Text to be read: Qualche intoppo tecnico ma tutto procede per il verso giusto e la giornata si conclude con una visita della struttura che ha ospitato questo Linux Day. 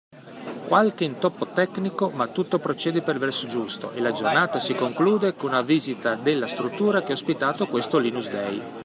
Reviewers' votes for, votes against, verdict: 2, 1, accepted